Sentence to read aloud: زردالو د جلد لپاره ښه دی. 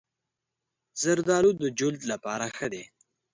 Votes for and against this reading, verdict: 3, 0, accepted